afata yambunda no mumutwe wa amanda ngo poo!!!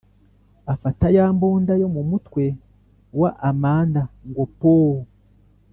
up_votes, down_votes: 1, 2